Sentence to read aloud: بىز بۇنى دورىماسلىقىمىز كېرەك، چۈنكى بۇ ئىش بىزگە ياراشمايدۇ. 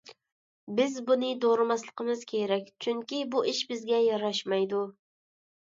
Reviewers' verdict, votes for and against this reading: accepted, 2, 0